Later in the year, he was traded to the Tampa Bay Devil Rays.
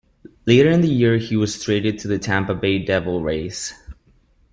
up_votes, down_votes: 2, 0